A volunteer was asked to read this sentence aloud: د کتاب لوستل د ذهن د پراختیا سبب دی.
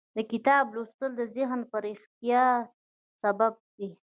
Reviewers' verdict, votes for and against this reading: rejected, 1, 2